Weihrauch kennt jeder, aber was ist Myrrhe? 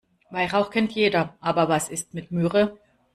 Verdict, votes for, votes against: rejected, 1, 2